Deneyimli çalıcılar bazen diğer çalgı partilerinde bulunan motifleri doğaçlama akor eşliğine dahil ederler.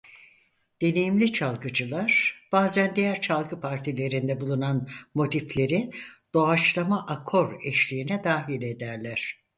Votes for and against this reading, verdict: 0, 4, rejected